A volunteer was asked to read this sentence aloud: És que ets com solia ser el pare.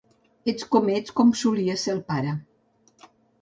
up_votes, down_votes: 3, 4